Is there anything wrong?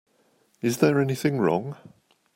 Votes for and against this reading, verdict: 2, 0, accepted